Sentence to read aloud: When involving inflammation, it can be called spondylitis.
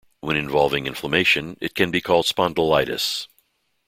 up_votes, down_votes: 2, 0